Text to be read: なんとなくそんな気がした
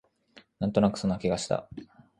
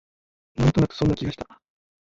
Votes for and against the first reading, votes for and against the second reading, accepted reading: 2, 0, 2, 3, first